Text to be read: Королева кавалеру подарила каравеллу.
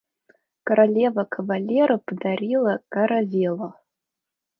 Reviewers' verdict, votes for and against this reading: accepted, 2, 0